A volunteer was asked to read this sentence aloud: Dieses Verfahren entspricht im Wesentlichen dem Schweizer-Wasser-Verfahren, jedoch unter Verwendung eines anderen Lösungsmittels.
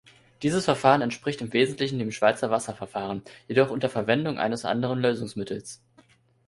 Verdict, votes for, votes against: accepted, 2, 0